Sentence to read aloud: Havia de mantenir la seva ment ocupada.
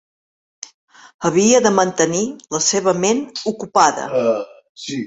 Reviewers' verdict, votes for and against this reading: rejected, 0, 2